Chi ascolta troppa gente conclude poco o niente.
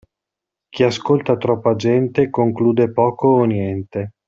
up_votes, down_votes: 2, 0